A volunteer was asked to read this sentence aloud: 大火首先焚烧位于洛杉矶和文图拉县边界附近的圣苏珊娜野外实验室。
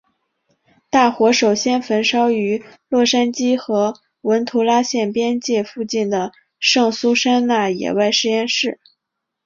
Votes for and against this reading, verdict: 3, 3, rejected